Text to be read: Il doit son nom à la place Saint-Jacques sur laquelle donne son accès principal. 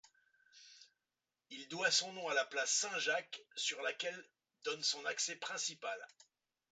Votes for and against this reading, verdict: 2, 1, accepted